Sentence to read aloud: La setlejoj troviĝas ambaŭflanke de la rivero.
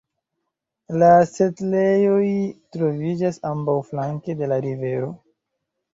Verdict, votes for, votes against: rejected, 0, 2